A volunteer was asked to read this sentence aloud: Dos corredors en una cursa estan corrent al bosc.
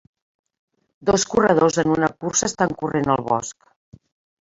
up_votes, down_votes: 4, 2